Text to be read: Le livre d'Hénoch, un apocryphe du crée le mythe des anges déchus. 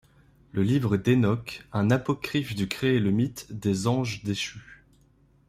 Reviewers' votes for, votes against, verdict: 2, 0, accepted